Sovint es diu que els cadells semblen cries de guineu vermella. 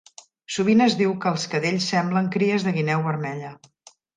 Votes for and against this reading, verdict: 3, 0, accepted